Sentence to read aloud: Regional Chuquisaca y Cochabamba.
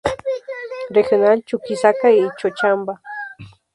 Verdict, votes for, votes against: rejected, 0, 4